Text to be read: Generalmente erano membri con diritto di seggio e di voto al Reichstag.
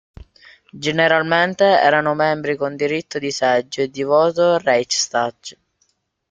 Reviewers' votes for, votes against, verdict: 1, 2, rejected